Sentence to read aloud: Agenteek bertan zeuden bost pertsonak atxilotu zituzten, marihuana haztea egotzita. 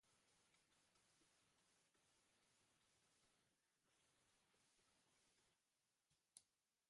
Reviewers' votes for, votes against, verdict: 0, 5, rejected